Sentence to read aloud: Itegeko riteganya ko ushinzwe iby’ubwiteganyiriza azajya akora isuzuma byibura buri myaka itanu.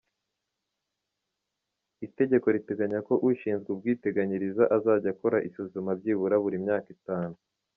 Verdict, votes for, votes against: accepted, 2, 1